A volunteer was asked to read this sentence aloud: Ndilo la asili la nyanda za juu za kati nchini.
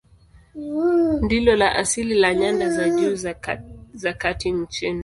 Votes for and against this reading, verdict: 0, 2, rejected